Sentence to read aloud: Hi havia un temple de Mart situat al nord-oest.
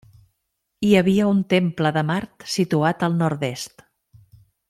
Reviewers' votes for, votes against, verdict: 0, 2, rejected